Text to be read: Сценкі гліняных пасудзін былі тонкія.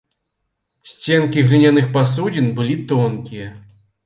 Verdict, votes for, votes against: accepted, 2, 0